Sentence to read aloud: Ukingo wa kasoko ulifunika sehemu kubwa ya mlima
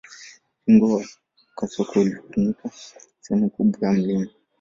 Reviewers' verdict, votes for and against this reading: accepted, 2, 0